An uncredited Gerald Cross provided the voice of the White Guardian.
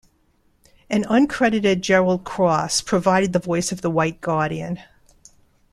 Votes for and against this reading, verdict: 2, 0, accepted